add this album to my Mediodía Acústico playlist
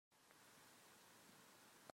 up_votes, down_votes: 0, 2